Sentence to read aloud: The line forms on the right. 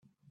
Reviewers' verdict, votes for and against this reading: rejected, 0, 3